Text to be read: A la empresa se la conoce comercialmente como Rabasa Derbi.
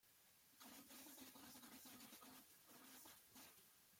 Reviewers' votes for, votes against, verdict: 0, 2, rejected